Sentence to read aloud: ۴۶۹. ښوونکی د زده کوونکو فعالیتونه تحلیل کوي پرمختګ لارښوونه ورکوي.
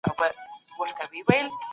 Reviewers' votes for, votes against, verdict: 0, 2, rejected